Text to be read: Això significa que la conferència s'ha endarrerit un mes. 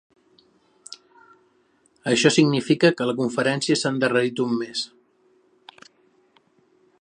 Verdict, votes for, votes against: accepted, 2, 0